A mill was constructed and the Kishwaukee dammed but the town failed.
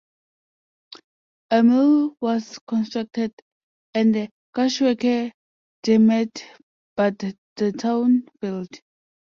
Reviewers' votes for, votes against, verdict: 0, 2, rejected